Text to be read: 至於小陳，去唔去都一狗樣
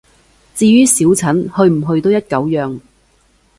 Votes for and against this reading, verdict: 2, 0, accepted